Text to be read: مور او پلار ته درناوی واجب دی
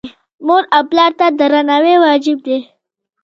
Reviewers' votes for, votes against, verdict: 1, 2, rejected